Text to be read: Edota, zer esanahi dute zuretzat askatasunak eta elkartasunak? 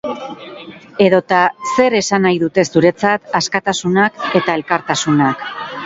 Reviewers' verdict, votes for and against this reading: rejected, 2, 4